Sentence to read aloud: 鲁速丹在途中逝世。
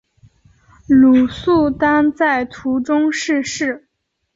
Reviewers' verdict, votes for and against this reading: accepted, 2, 0